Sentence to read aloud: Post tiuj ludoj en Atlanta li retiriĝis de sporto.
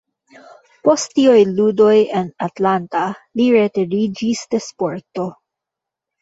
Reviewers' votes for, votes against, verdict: 0, 2, rejected